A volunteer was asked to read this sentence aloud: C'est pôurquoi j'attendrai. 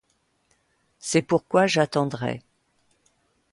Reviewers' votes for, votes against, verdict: 2, 0, accepted